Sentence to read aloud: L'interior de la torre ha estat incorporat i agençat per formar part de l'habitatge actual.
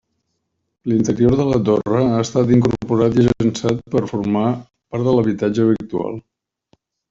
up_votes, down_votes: 1, 2